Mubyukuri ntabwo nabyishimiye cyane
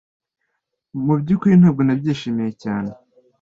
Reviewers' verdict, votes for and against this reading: accepted, 2, 0